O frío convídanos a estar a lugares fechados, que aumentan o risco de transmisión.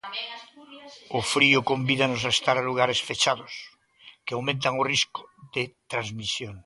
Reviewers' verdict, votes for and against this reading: rejected, 1, 2